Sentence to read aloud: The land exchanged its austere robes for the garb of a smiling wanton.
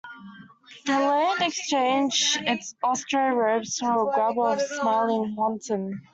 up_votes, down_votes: 2, 1